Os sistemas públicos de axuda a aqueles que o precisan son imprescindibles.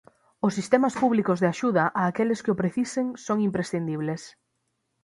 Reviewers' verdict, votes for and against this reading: rejected, 3, 6